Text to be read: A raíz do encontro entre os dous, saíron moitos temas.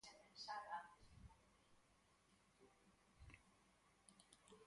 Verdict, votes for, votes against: rejected, 0, 4